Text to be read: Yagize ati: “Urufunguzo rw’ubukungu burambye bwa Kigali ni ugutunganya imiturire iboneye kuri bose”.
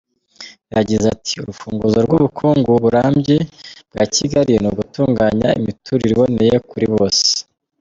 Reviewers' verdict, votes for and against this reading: accepted, 2, 0